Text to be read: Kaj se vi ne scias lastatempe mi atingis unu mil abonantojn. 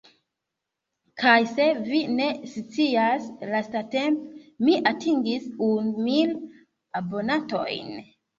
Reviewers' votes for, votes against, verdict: 1, 2, rejected